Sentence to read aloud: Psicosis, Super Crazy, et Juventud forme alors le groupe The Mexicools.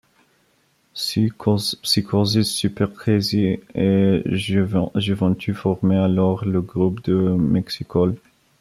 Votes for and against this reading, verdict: 0, 2, rejected